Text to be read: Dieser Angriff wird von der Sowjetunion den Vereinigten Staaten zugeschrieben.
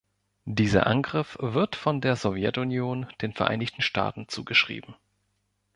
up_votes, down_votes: 2, 1